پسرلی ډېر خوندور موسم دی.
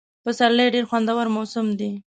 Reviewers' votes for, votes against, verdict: 2, 0, accepted